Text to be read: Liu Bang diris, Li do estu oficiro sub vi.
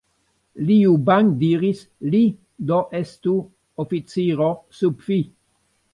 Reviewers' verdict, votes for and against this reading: rejected, 0, 2